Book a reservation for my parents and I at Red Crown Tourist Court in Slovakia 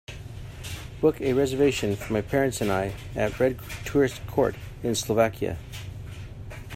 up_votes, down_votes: 0, 2